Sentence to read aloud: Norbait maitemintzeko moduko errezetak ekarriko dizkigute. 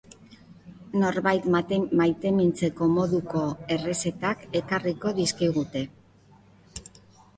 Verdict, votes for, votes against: rejected, 0, 2